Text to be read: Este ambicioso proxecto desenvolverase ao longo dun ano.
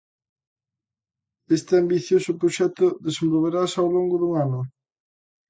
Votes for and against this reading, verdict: 2, 0, accepted